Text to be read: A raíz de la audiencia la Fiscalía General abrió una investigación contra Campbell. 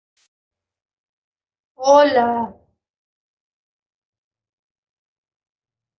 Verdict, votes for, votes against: rejected, 0, 2